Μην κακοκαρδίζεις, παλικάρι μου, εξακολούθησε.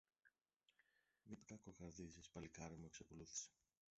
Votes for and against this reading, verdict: 1, 2, rejected